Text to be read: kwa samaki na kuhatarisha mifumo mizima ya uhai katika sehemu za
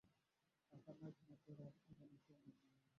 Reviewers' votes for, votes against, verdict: 0, 2, rejected